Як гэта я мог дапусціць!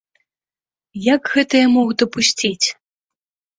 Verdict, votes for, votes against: accepted, 2, 0